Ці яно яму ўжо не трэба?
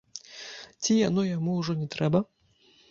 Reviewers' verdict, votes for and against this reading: accepted, 2, 0